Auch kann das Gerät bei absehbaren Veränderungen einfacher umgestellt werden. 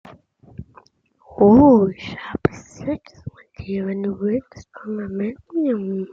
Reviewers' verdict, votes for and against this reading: rejected, 0, 2